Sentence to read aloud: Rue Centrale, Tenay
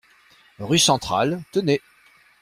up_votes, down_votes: 2, 0